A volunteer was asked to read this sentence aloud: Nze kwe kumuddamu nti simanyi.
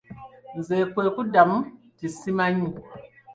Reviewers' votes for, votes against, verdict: 2, 0, accepted